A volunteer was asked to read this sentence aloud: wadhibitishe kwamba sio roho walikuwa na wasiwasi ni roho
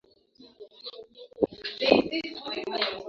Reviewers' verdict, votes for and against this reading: rejected, 1, 2